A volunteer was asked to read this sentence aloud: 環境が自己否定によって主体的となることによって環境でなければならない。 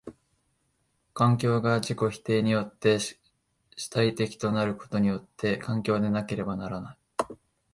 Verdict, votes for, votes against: rejected, 1, 2